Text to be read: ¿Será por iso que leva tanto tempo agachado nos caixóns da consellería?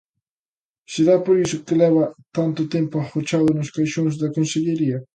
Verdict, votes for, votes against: rejected, 0, 2